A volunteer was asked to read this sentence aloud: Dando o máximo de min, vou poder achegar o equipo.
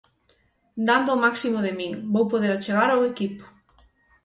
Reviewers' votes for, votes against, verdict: 3, 3, rejected